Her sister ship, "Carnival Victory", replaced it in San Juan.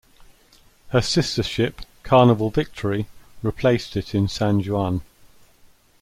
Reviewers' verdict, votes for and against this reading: accepted, 2, 1